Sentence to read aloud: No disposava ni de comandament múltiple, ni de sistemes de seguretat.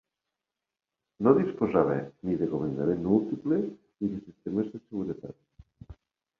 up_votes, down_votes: 0, 2